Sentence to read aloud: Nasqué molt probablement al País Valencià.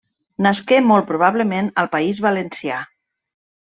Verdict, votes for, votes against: accepted, 2, 0